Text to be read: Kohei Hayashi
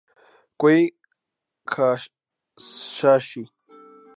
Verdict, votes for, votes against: accepted, 2, 0